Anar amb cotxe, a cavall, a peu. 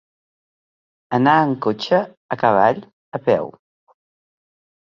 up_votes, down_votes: 3, 0